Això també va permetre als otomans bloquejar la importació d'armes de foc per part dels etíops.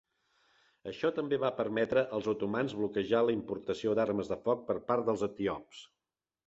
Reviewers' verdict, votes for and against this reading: rejected, 1, 2